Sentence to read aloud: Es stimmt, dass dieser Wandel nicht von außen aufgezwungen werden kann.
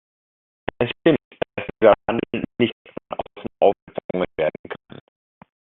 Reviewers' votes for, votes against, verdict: 0, 2, rejected